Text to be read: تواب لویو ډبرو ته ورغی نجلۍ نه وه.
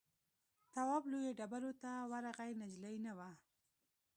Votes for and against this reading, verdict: 2, 1, accepted